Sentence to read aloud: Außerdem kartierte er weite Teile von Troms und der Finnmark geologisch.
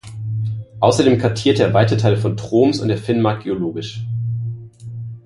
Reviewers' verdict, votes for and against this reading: accepted, 2, 0